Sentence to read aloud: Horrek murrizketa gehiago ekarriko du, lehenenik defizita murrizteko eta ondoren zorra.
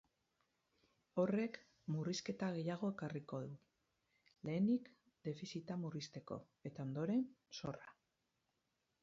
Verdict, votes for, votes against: accepted, 4, 0